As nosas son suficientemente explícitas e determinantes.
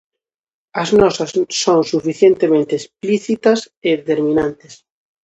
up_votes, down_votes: 0, 2